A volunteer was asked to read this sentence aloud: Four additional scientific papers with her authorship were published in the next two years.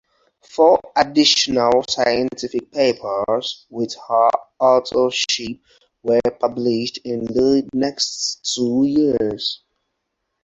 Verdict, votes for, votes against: accepted, 4, 2